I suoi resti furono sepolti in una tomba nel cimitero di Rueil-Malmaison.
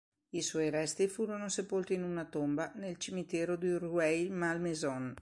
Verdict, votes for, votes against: accepted, 2, 0